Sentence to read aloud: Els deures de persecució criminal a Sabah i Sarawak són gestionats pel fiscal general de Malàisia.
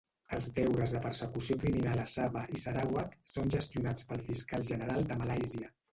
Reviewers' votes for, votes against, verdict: 0, 2, rejected